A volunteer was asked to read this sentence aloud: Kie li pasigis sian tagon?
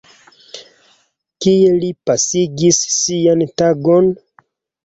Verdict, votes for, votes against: accepted, 2, 1